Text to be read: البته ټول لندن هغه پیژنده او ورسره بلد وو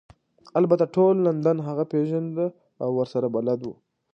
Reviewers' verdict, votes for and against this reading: accepted, 2, 0